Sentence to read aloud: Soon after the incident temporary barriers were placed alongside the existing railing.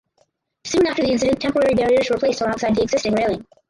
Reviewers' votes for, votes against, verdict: 0, 4, rejected